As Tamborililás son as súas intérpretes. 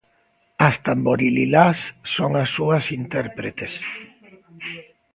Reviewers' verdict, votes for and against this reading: accepted, 2, 0